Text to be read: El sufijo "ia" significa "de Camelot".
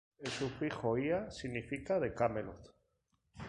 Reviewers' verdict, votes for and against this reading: accepted, 2, 0